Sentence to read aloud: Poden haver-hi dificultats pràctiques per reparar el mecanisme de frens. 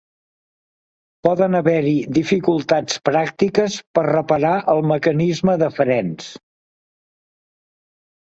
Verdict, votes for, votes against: accepted, 2, 0